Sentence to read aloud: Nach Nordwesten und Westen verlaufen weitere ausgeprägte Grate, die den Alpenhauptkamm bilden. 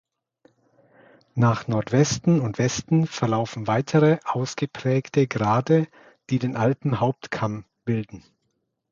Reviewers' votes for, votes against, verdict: 2, 0, accepted